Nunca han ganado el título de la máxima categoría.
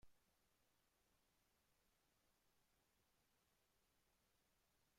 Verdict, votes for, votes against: rejected, 0, 2